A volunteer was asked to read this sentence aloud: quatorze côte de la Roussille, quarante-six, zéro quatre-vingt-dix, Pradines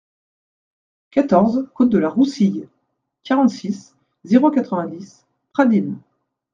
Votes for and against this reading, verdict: 2, 0, accepted